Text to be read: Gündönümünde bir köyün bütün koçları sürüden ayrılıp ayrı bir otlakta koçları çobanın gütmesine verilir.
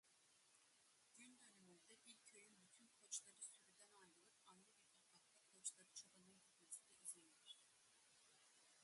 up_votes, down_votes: 0, 2